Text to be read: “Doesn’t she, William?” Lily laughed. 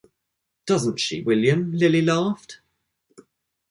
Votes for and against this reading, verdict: 2, 0, accepted